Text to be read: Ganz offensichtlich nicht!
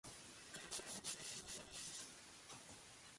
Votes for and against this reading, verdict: 0, 2, rejected